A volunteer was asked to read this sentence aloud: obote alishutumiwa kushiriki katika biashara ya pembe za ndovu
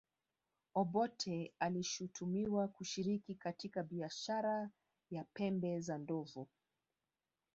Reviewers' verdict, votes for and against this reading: accepted, 2, 0